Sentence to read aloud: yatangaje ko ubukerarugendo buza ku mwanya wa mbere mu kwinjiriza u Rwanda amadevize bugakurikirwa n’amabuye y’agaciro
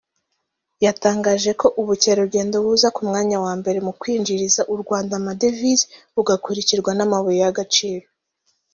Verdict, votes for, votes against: accepted, 2, 0